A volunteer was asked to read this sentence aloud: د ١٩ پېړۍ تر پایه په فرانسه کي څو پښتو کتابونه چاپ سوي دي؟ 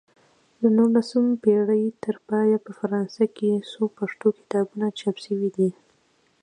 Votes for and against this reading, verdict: 0, 2, rejected